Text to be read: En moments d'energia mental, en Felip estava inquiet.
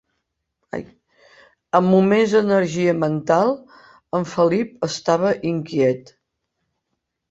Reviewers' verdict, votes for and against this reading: rejected, 0, 2